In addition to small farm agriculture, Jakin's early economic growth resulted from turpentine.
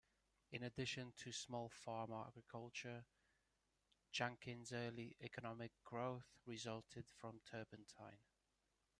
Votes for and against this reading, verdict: 0, 2, rejected